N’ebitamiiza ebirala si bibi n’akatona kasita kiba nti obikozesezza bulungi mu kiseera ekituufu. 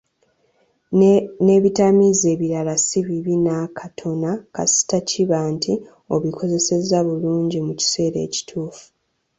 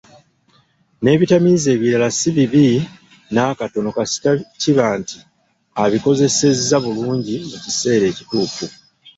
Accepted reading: first